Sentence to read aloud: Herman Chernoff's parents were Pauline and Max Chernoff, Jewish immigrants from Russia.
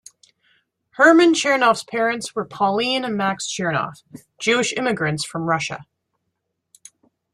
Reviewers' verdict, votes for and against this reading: accepted, 2, 0